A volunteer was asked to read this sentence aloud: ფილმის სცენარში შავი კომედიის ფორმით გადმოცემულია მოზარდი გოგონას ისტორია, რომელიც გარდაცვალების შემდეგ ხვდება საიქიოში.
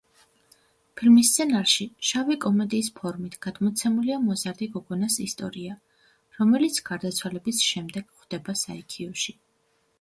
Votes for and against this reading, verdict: 2, 0, accepted